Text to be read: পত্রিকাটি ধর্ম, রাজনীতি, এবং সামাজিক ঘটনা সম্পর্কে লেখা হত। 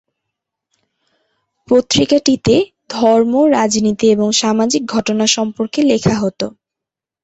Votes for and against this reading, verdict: 3, 2, accepted